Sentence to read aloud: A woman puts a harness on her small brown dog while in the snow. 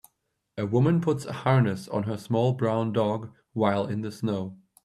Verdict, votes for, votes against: accepted, 3, 0